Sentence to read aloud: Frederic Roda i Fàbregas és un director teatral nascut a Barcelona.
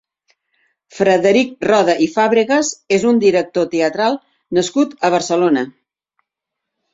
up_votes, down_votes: 2, 0